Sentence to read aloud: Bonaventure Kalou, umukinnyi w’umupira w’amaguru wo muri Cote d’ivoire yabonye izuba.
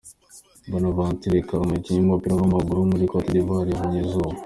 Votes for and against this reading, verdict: 2, 0, accepted